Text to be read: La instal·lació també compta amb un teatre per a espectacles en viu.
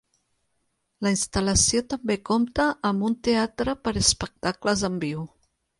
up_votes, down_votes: 6, 0